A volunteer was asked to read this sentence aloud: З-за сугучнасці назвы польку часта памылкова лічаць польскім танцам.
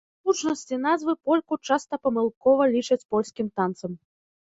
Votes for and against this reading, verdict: 0, 2, rejected